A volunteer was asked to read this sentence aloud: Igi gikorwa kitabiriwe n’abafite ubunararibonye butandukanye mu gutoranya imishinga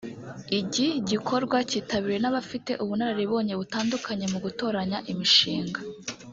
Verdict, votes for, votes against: rejected, 0, 2